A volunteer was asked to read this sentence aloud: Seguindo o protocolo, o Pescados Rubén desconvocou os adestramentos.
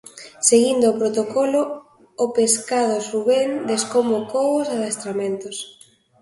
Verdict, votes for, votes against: accepted, 2, 0